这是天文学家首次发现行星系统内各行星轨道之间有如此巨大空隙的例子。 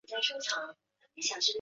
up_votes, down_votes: 3, 7